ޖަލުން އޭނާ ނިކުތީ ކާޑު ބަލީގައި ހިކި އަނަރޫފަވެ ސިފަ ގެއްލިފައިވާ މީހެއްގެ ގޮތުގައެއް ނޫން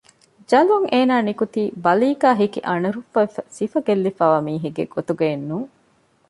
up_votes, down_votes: 1, 2